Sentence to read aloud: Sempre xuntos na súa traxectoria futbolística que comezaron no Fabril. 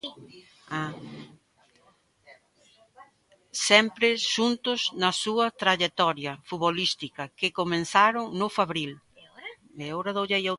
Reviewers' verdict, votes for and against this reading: rejected, 0, 2